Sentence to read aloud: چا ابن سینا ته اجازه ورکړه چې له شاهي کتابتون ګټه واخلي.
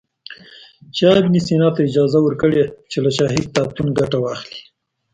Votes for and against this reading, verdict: 0, 2, rejected